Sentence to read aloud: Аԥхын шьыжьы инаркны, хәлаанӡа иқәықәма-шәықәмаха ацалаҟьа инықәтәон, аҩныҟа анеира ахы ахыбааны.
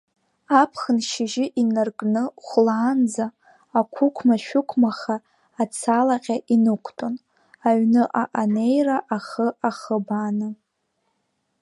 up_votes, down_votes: 2, 3